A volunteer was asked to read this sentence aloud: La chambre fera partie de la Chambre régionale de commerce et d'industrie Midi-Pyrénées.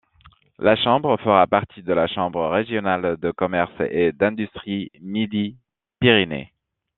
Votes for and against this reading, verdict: 2, 0, accepted